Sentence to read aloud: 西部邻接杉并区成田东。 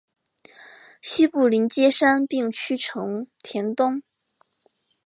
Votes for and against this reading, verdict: 3, 0, accepted